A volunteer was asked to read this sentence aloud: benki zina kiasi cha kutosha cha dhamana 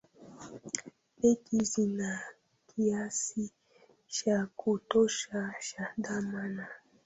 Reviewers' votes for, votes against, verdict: 0, 2, rejected